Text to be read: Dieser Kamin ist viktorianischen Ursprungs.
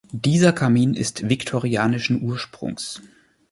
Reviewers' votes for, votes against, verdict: 2, 0, accepted